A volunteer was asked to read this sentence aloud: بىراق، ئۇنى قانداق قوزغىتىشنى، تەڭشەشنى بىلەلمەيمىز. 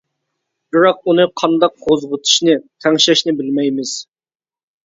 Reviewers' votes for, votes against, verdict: 1, 2, rejected